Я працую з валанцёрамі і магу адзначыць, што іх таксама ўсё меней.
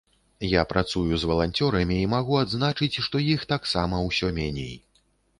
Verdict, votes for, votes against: accepted, 2, 0